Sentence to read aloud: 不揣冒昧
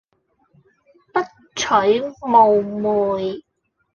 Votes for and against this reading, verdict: 1, 2, rejected